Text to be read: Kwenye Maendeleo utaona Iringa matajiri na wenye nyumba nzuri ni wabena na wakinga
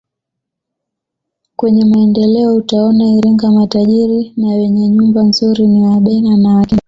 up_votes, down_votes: 1, 2